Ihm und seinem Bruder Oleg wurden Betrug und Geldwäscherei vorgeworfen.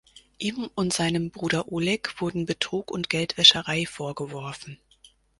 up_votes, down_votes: 4, 0